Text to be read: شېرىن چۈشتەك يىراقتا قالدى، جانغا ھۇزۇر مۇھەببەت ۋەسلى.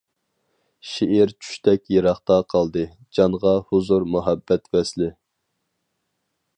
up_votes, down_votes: 0, 4